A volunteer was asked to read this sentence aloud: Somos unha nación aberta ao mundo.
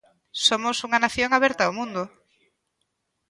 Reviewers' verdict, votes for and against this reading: accepted, 2, 0